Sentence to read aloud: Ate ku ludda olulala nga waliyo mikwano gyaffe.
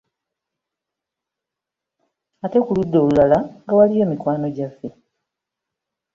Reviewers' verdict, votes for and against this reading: accepted, 2, 0